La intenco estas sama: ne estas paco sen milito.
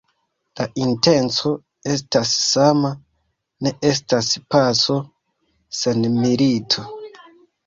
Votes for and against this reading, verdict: 1, 2, rejected